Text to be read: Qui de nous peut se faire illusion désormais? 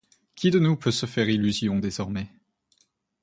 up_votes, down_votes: 2, 0